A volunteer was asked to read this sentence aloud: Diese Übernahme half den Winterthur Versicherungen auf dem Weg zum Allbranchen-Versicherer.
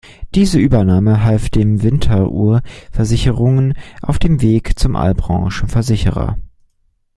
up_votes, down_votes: 0, 2